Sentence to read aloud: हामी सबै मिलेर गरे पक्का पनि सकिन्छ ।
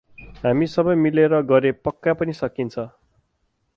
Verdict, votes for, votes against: accepted, 4, 0